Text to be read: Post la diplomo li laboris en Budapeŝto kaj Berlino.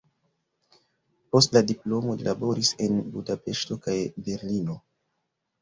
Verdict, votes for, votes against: accepted, 2, 0